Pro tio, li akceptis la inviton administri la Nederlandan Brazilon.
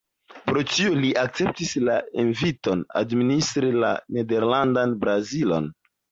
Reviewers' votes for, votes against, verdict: 2, 0, accepted